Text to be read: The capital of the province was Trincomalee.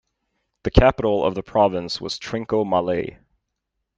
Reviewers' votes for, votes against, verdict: 2, 0, accepted